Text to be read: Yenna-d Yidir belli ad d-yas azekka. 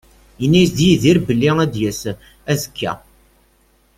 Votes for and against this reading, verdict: 0, 2, rejected